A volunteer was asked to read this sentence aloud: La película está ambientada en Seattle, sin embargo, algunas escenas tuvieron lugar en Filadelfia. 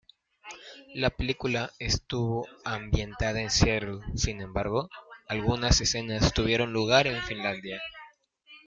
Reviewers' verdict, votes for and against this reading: rejected, 0, 2